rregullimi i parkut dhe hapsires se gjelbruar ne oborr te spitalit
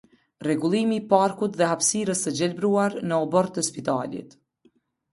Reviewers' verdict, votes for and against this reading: rejected, 1, 2